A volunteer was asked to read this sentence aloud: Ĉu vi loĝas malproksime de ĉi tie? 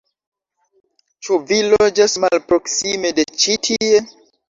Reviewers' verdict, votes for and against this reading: accepted, 2, 1